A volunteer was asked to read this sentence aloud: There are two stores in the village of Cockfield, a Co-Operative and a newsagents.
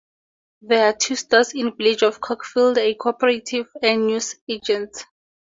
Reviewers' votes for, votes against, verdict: 0, 2, rejected